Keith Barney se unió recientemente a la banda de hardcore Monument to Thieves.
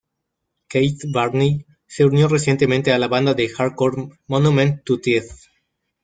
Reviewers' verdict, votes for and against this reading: accepted, 2, 0